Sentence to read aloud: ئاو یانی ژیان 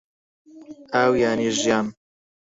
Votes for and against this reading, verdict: 2, 4, rejected